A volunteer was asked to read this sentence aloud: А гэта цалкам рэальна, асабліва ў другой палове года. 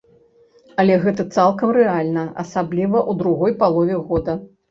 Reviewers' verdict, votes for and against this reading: rejected, 0, 2